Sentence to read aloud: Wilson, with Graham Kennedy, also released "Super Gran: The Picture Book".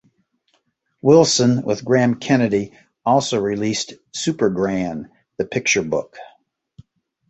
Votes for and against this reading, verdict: 2, 0, accepted